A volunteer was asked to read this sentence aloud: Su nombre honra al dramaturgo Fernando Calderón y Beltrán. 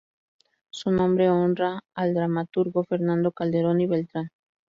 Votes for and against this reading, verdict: 2, 0, accepted